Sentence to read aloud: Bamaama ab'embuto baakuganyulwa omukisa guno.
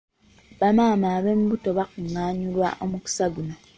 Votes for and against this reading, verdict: 1, 2, rejected